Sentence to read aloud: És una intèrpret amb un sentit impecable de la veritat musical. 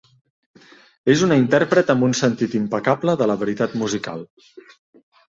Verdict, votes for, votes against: accepted, 2, 0